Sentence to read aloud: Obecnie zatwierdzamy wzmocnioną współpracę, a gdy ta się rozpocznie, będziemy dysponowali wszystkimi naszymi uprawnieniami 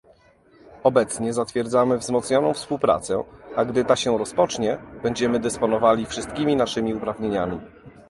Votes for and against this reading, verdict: 0, 2, rejected